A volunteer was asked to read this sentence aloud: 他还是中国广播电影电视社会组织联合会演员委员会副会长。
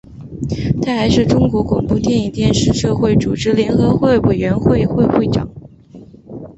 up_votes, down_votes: 3, 2